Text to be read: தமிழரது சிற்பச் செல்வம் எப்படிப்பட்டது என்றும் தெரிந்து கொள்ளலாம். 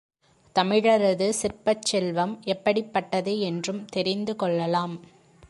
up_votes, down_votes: 2, 0